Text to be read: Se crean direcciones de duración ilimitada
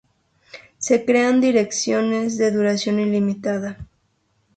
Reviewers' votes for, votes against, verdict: 8, 0, accepted